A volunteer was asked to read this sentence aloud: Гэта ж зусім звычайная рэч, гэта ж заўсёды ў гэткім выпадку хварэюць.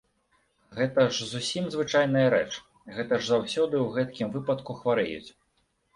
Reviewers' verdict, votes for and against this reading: accepted, 2, 0